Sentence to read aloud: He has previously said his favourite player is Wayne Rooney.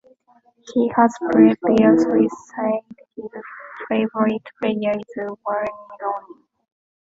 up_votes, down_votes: 1, 2